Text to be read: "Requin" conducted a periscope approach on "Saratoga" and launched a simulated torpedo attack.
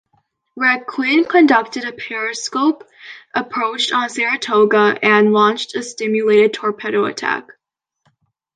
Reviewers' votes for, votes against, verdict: 1, 2, rejected